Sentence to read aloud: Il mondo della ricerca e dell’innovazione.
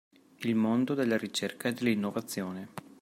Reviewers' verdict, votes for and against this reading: accepted, 2, 0